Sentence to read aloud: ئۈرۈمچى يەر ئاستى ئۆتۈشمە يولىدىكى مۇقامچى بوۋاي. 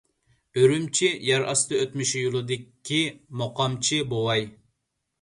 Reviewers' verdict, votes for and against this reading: rejected, 0, 2